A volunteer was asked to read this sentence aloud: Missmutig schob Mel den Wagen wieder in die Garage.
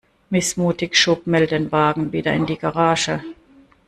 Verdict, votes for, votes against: accepted, 2, 0